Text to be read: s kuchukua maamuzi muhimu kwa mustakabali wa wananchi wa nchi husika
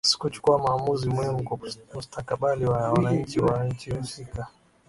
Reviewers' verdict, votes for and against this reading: rejected, 3, 4